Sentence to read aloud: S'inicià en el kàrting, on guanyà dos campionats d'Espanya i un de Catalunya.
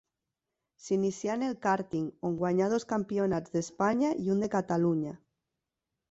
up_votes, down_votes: 2, 0